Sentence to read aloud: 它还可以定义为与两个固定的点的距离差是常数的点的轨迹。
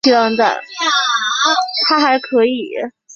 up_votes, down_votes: 0, 5